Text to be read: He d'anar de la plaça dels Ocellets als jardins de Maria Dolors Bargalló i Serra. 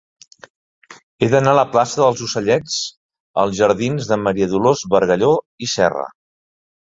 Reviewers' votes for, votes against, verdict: 0, 2, rejected